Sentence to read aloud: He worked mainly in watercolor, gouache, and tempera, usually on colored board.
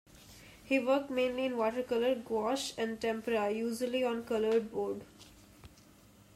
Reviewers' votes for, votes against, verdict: 3, 0, accepted